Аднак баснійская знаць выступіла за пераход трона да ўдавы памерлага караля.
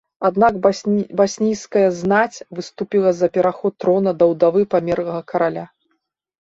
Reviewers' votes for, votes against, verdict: 1, 2, rejected